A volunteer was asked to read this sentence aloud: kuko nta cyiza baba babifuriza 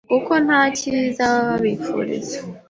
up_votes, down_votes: 2, 0